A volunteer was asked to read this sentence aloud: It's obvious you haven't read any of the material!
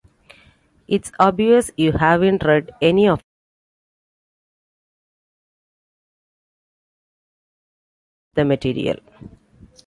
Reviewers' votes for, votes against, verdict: 1, 2, rejected